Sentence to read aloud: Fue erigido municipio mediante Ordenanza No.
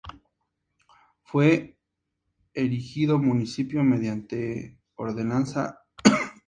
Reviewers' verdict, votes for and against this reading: rejected, 0, 4